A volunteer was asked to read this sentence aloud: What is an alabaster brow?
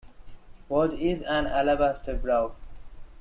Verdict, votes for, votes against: accepted, 2, 0